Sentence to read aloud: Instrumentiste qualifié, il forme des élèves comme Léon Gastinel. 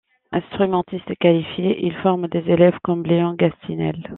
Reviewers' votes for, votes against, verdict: 2, 0, accepted